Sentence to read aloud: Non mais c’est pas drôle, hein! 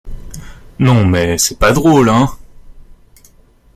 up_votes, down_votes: 2, 1